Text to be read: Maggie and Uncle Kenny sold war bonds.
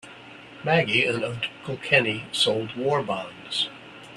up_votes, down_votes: 2, 3